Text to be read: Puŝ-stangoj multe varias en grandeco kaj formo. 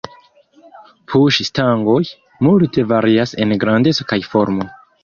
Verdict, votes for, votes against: rejected, 1, 2